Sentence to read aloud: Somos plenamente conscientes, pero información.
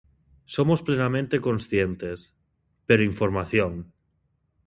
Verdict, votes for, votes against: accepted, 2, 1